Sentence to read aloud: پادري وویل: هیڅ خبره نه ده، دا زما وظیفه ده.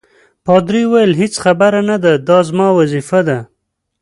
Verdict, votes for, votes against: accepted, 2, 0